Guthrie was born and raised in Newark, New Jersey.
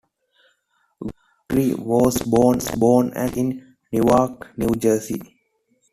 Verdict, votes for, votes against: rejected, 0, 2